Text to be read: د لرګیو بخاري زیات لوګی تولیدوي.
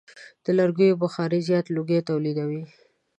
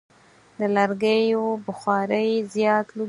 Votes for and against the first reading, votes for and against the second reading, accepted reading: 2, 0, 2, 4, first